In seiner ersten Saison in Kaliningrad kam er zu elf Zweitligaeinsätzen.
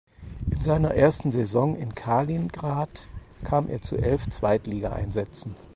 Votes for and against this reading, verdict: 0, 4, rejected